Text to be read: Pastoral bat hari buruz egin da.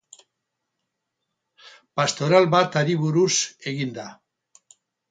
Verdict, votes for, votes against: accepted, 10, 0